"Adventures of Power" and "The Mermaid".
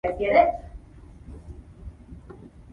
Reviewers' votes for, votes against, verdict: 0, 2, rejected